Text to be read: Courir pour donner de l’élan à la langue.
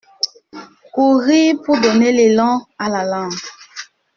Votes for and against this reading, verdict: 0, 2, rejected